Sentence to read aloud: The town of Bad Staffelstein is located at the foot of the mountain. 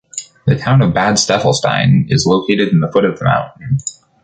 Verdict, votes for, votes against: rejected, 0, 2